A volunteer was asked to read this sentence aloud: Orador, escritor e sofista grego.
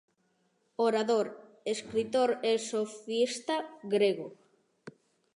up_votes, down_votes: 2, 1